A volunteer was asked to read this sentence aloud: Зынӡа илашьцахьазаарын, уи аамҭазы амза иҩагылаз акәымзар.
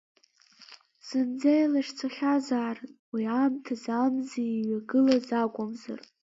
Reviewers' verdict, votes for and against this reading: rejected, 1, 2